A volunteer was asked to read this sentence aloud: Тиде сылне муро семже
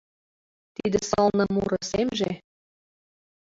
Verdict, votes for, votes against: accepted, 2, 1